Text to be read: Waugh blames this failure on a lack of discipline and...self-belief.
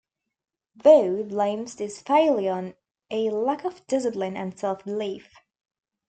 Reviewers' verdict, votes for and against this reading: accepted, 2, 0